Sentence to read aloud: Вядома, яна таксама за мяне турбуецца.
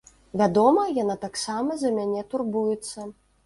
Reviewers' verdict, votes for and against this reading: accepted, 2, 0